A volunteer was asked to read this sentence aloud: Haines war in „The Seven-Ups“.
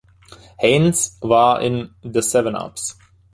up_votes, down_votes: 3, 0